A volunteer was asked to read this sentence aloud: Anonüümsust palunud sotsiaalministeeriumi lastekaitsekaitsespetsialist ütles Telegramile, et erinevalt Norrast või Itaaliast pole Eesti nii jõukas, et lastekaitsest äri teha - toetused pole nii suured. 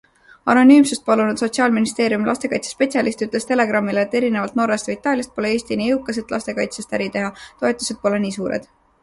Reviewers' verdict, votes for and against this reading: accepted, 2, 0